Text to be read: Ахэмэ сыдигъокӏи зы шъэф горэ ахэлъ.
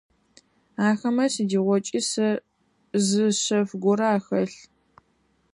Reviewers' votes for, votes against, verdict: 0, 4, rejected